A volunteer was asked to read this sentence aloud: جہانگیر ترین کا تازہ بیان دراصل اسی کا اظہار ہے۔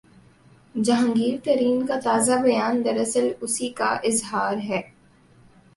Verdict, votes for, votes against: accepted, 2, 0